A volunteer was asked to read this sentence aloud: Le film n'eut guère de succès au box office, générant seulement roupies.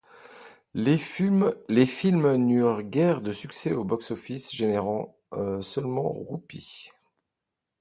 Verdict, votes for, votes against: rejected, 1, 2